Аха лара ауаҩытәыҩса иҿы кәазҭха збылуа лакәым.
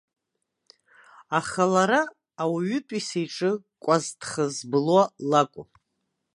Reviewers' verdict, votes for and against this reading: accepted, 2, 0